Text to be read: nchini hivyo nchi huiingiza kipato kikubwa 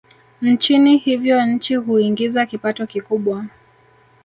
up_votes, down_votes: 0, 2